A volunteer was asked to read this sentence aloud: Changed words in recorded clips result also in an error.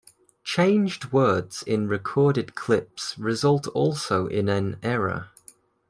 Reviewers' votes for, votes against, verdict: 2, 1, accepted